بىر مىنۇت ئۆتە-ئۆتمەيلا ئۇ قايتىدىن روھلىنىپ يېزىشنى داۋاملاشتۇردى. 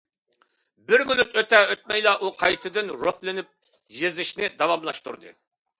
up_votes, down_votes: 2, 0